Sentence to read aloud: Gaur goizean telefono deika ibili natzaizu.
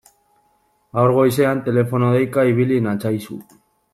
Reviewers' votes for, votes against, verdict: 2, 0, accepted